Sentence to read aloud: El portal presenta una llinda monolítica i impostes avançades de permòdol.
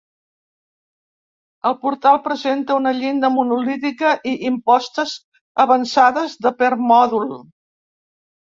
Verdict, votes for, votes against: accepted, 2, 0